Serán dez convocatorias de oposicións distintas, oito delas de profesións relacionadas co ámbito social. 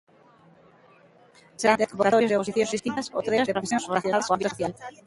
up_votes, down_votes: 0, 2